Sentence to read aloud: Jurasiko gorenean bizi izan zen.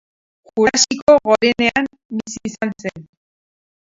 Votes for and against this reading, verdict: 2, 4, rejected